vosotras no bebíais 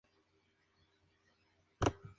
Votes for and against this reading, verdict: 0, 2, rejected